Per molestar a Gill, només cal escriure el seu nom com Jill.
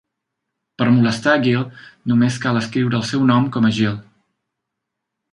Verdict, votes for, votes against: rejected, 0, 2